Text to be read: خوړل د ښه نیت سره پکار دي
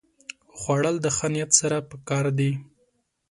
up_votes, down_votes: 2, 0